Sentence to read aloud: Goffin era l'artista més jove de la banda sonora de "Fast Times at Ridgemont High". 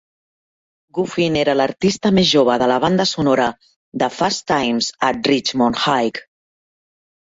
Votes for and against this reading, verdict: 2, 0, accepted